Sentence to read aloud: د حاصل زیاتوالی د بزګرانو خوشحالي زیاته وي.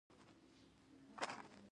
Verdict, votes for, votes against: rejected, 0, 2